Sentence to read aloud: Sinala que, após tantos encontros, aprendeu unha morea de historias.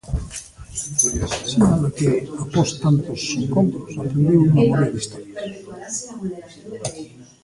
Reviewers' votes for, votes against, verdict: 0, 2, rejected